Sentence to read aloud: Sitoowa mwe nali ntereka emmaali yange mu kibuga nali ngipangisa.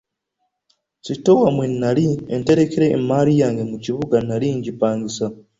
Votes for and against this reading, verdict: 2, 0, accepted